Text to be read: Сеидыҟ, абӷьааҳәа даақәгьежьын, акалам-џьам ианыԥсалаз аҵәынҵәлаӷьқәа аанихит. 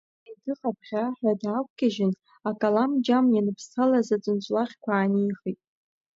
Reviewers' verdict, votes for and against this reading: rejected, 1, 2